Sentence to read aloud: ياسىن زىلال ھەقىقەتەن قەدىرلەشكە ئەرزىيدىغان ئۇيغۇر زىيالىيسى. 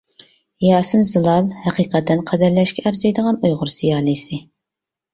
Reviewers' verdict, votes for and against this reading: accepted, 2, 0